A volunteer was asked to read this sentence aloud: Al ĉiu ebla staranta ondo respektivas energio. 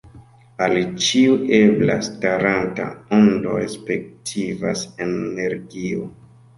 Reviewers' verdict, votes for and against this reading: accepted, 2, 0